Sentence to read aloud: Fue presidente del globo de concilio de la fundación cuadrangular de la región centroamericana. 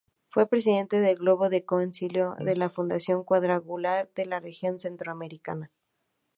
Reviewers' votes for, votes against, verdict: 2, 0, accepted